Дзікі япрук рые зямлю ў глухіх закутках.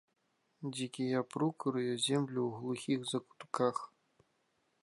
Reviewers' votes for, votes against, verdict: 0, 3, rejected